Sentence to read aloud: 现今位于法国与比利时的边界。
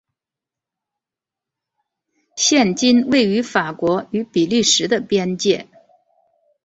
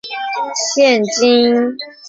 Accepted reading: first